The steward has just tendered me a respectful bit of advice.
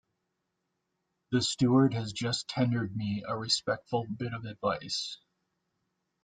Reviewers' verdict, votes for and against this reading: accepted, 2, 0